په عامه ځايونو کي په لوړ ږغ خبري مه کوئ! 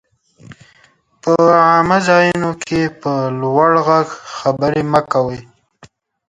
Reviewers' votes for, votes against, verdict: 1, 2, rejected